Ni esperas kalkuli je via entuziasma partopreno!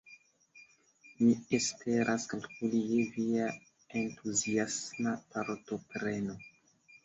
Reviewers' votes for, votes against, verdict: 2, 0, accepted